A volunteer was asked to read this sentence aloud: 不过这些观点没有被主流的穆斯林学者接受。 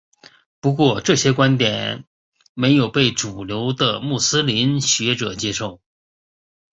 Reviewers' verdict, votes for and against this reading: rejected, 1, 2